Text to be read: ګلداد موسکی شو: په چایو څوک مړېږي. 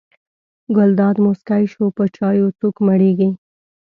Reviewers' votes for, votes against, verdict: 2, 0, accepted